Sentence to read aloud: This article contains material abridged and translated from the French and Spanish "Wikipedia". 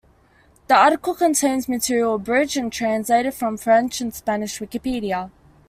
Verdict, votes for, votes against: rejected, 1, 2